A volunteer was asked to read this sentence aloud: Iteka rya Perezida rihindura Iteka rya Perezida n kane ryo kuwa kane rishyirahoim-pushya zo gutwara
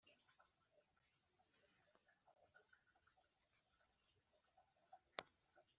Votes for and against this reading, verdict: 1, 2, rejected